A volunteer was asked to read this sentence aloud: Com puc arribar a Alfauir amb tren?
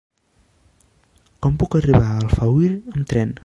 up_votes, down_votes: 0, 2